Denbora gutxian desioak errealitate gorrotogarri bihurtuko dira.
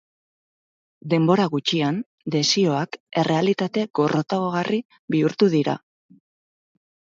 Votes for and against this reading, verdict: 0, 4, rejected